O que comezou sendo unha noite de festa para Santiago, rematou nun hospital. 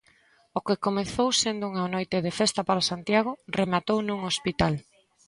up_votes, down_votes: 2, 0